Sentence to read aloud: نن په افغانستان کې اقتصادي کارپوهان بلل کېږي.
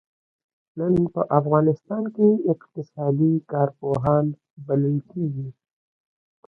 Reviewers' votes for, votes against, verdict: 2, 0, accepted